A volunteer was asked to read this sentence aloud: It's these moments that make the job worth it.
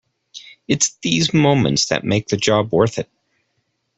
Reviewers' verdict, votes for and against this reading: accepted, 2, 0